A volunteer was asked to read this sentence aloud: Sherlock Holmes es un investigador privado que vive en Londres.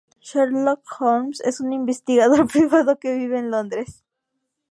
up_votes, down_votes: 4, 0